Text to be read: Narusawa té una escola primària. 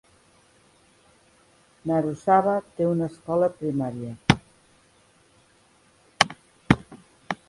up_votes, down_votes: 2, 0